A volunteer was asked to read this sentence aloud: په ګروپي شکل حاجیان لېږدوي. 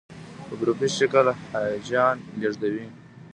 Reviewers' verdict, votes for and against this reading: accepted, 2, 1